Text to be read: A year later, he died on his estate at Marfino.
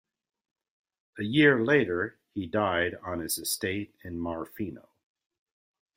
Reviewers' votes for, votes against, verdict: 1, 2, rejected